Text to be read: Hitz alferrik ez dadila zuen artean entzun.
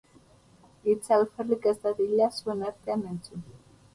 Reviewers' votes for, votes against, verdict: 0, 2, rejected